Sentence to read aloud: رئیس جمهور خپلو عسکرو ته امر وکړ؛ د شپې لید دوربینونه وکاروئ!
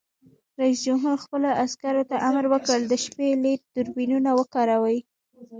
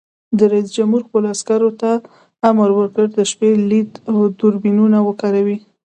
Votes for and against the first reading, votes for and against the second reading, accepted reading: 0, 2, 2, 0, second